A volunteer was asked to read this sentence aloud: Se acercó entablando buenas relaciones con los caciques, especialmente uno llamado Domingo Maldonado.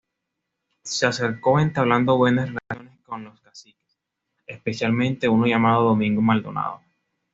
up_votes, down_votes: 2, 0